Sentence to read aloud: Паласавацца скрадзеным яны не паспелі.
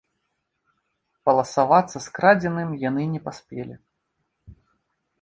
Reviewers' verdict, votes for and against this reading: rejected, 1, 2